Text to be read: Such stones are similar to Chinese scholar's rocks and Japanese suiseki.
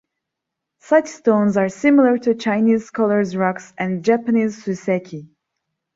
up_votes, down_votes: 2, 1